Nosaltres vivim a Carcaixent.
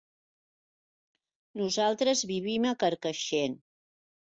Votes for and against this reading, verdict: 4, 0, accepted